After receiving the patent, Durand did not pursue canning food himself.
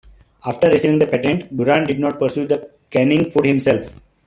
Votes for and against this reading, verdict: 1, 2, rejected